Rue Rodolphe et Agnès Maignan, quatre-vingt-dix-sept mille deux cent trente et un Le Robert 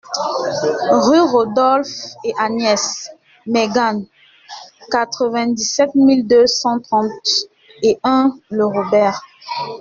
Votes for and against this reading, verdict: 0, 2, rejected